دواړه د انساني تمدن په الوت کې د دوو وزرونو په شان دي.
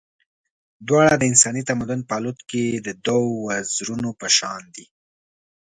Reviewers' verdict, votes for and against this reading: accepted, 2, 0